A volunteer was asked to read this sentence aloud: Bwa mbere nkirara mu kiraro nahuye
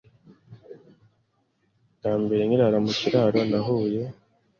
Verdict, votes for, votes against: accepted, 2, 0